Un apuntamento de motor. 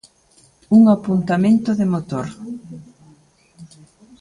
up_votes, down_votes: 2, 0